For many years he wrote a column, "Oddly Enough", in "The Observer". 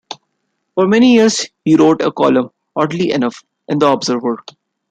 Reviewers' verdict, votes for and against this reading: accepted, 2, 0